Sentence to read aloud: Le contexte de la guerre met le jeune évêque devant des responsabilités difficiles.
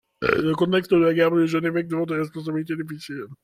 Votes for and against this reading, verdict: 0, 2, rejected